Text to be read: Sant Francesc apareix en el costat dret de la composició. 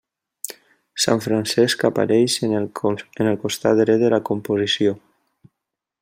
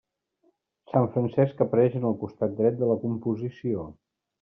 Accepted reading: second